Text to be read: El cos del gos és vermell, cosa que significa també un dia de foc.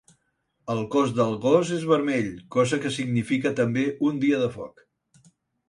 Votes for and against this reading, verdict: 4, 0, accepted